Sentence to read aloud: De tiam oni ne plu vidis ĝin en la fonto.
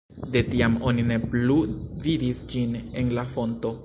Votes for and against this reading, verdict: 2, 0, accepted